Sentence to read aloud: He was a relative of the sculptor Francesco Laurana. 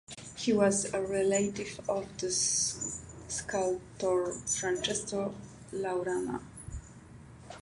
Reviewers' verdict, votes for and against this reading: accepted, 2, 0